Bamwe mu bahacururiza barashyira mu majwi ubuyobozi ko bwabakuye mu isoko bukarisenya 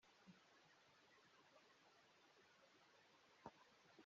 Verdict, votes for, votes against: rejected, 0, 2